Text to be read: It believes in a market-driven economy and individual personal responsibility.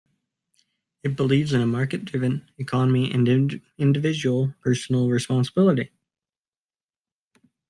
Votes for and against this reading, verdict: 2, 1, accepted